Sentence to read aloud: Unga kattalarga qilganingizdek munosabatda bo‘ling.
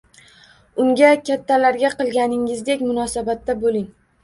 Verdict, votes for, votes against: rejected, 1, 2